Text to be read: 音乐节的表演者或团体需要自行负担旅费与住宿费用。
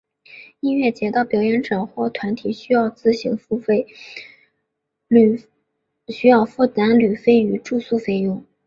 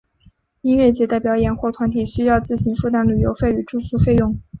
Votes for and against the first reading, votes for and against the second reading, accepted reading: 2, 3, 4, 0, second